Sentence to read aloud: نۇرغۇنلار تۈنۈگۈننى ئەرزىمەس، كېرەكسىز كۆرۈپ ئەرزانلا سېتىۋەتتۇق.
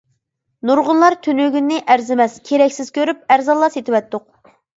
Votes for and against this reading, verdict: 2, 0, accepted